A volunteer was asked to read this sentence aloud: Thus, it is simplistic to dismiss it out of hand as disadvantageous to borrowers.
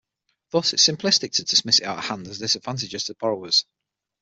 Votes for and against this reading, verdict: 0, 6, rejected